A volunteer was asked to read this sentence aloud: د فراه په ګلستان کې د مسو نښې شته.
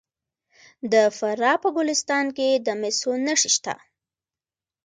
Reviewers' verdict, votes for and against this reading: rejected, 1, 2